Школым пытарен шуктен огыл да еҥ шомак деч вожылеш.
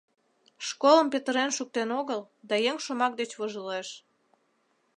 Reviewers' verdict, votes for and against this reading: rejected, 1, 2